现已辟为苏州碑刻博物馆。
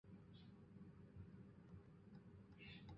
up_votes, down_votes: 0, 3